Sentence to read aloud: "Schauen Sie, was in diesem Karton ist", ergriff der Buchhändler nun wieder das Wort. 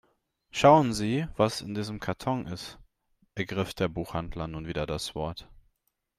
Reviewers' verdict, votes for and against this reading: rejected, 1, 2